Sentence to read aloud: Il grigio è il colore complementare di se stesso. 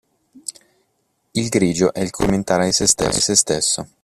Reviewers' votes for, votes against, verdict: 0, 2, rejected